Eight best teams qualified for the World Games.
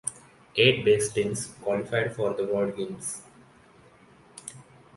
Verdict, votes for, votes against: accepted, 2, 1